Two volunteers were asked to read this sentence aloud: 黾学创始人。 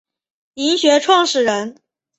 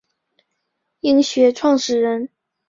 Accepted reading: first